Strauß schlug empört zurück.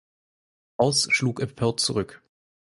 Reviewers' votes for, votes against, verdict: 2, 4, rejected